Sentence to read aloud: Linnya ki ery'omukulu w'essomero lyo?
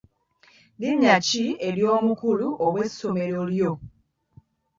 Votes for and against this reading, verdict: 2, 3, rejected